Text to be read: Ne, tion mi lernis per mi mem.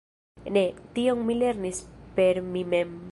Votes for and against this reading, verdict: 0, 2, rejected